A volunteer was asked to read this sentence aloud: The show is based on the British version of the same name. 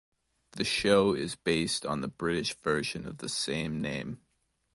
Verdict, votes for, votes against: accepted, 2, 0